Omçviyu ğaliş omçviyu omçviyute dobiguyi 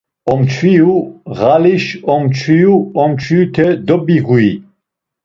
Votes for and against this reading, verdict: 1, 2, rejected